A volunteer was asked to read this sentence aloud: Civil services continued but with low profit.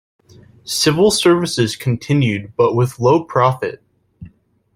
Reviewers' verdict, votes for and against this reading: accepted, 2, 0